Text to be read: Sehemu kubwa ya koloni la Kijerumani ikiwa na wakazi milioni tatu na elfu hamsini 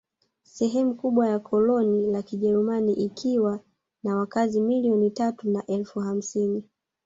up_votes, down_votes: 0, 2